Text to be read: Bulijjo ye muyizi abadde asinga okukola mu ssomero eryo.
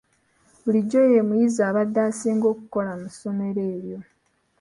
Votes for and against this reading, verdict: 2, 0, accepted